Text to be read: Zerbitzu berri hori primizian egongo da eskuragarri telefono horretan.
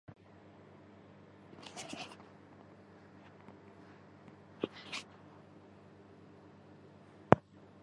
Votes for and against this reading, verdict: 0, 4, rejected